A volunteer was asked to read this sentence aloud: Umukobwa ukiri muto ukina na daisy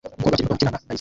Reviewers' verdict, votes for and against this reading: rejected, 0, 2